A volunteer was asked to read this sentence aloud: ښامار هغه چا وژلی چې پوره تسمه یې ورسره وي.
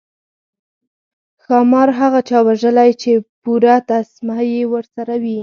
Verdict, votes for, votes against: accepted, 4, 0